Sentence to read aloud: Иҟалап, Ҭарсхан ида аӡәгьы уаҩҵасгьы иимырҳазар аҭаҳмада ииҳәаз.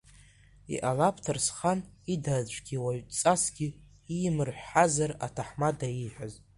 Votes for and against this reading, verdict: 0, 2, rejected